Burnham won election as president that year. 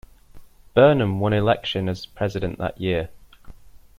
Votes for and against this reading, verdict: 2, 0, accepted